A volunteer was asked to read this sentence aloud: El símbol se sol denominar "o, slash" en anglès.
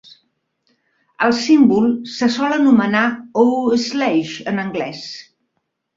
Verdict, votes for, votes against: rejected, 0, 2